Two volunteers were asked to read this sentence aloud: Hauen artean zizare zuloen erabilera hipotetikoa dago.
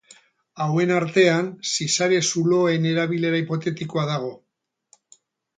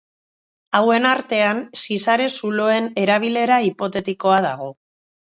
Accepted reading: second